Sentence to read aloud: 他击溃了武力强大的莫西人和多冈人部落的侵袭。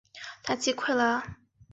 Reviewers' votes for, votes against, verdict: 0, 2, rejected